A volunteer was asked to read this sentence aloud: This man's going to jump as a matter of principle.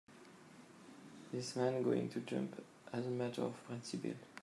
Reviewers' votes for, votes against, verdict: 0, 2, rejected